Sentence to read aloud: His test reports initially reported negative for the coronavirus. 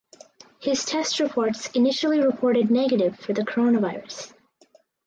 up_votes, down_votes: 4, 0